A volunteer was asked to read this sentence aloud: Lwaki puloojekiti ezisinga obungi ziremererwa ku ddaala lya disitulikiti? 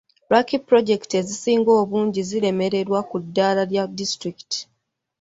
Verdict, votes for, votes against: rejected, 0, 2